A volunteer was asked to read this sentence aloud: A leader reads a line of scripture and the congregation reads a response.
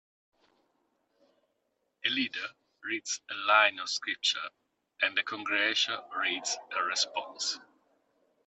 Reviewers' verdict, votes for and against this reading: accepted, 2, 0